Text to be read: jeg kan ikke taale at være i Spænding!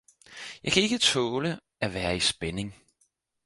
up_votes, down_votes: 4, 0